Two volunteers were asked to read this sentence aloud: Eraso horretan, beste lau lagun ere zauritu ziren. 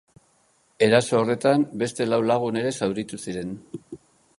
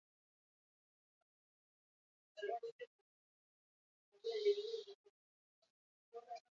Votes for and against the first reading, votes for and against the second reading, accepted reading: 2, 0, 0, 4, first